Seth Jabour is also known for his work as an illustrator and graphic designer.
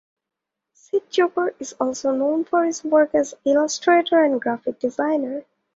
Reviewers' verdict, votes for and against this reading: rejected, 0, 2